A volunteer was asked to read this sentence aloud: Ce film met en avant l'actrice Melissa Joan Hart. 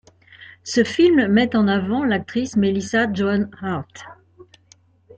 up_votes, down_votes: 2, 0